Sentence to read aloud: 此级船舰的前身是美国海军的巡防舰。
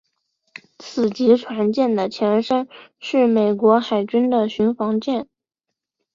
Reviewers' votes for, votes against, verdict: 3, 0, accepted